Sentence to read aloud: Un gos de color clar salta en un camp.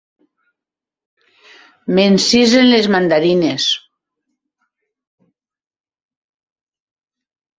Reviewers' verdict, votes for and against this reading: rejected, 0, 2